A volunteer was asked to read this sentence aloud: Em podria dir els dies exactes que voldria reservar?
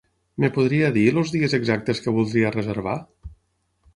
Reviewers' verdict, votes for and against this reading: rejected, 3, 6